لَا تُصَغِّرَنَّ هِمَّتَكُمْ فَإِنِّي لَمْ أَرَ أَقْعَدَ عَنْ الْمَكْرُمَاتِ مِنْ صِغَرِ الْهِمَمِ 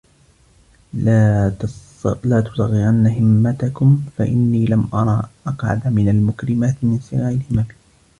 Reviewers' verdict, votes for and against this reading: rejected, 1, 2